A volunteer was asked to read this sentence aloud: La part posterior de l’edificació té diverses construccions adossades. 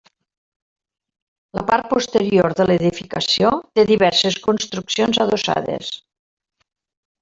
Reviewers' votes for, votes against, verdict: 0, 2, rejected